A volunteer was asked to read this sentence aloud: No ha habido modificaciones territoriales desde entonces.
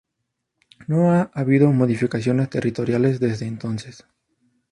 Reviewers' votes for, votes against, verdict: 0, 2, rejected